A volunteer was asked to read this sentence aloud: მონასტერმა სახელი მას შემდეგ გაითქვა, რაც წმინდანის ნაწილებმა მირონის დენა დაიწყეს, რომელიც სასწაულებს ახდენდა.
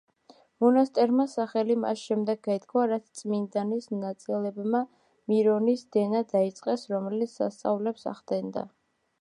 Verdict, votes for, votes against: accepted, 2, 1